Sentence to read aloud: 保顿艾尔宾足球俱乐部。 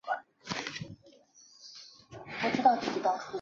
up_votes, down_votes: 1, 2